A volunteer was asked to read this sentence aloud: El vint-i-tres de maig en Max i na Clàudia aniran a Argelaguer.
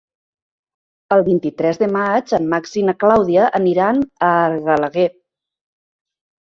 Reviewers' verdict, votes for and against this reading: rejected, 0, 2